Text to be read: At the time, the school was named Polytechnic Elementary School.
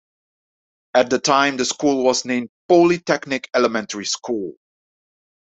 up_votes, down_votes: 2, 0